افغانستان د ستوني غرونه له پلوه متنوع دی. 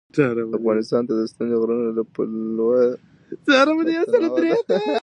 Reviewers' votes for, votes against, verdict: 1, 2, rejected